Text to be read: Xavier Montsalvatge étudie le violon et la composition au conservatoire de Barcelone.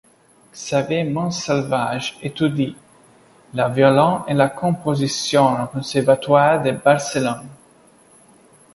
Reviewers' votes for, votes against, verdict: 0, 2, rejected